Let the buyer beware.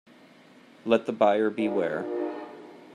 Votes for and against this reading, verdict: 2, 0, accepted